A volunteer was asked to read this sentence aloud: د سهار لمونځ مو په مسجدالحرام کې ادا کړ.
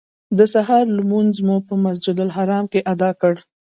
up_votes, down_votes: 2, 0